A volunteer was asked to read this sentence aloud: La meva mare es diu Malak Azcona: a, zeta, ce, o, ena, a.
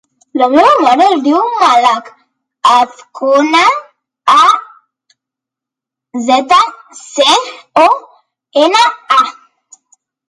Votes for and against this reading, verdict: 1, 2, rejected